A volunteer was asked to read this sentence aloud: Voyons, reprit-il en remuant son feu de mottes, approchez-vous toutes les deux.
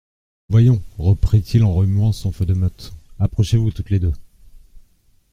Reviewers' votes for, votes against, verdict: 2, 0, accepted